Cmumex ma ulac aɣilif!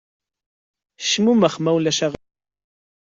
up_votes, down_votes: 1, 2